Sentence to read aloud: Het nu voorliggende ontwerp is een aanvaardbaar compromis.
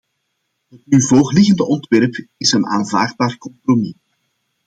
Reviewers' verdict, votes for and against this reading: accepted, 2, 1